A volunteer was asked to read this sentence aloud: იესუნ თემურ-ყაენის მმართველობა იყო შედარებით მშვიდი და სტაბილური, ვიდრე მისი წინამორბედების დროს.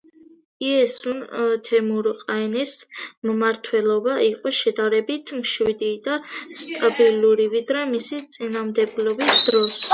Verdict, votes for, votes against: rejected, 1, 2